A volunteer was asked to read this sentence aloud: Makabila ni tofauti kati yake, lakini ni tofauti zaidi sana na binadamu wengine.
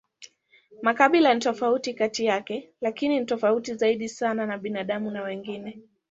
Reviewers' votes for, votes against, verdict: 1, 2, rejected